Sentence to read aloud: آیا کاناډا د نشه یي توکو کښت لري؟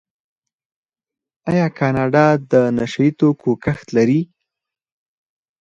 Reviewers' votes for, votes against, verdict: 4, 0, accepted